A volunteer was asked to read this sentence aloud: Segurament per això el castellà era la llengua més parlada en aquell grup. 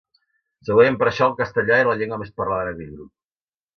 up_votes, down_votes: 1, 2